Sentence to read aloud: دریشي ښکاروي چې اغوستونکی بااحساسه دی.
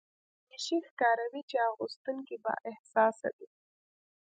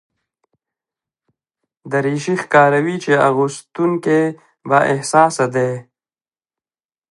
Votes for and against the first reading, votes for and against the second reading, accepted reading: 1, 2, 2, 0, second